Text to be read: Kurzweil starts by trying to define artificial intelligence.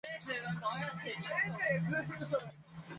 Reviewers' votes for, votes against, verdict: 0, 2, rejected